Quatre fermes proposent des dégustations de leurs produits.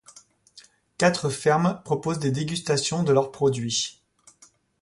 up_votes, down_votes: 2, 0